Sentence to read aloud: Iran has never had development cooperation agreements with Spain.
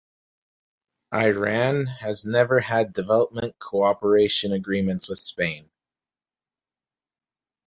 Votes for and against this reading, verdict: 4, 0, accepted